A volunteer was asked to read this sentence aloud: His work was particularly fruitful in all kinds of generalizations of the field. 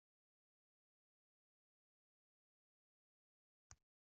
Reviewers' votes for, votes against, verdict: 0, 2, rejected